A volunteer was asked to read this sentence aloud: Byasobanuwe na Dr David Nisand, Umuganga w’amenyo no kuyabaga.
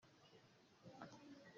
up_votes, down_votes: 0, 2